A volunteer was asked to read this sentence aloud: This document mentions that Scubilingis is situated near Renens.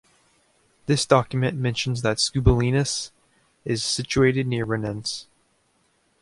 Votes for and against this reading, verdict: 1, 2, rejected